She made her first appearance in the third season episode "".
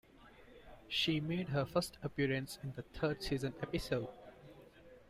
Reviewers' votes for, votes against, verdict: 1, 2, rejected